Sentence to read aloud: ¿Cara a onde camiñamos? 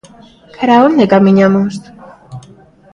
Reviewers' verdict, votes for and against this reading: rejected, 0, 2